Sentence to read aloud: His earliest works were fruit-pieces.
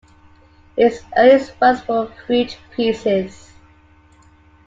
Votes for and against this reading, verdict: 2, 0, accepted